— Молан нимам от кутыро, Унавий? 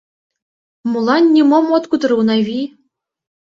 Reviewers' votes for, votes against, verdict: 1, 2, rejected